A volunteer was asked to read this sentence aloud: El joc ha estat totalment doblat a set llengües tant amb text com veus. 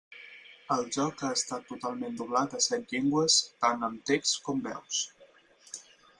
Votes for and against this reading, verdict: 4, 2, accepted